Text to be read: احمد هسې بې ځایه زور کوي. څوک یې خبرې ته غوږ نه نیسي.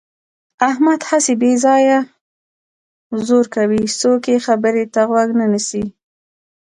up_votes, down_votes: 2, 0